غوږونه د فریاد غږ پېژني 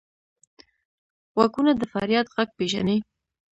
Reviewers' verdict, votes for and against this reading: accepted, 2, 0